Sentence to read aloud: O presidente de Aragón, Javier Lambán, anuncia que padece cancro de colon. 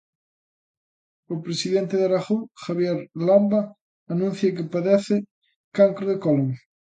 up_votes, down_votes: 0, 2